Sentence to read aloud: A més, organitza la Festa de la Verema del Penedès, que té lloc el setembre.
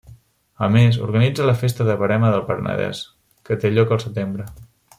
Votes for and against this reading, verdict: 0, 2, rejected